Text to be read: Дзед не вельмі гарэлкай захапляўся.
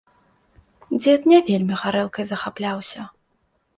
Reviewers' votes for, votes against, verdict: 2, 0, accepted